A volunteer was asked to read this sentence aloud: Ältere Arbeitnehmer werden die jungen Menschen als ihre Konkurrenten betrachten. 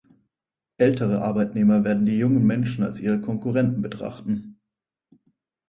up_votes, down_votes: 4, 0